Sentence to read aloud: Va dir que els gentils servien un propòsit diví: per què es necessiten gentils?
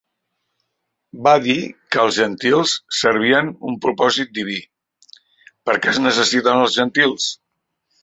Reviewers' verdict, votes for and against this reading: rejected, 1, 2